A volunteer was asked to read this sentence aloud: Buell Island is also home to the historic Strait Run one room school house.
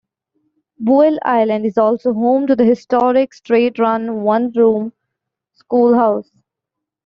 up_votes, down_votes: 1, 2